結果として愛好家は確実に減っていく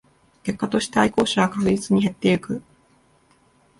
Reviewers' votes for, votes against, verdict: 0, 2, rejected